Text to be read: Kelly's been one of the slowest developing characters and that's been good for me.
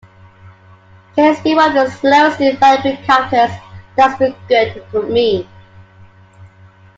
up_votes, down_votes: 1, 2